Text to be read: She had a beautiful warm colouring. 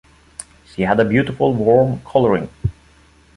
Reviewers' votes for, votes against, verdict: 2, 0, accepted